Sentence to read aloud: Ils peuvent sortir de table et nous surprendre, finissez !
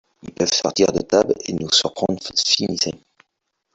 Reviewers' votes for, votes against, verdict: 1, 2, rejected